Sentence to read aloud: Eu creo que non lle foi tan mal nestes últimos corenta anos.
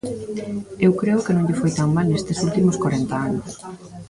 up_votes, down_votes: 0, 2